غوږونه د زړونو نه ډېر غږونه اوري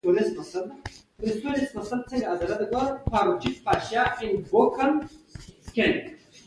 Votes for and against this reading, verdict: 1, 2, rejected